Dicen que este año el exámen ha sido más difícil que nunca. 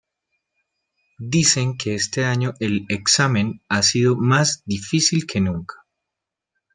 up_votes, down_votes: 0, 2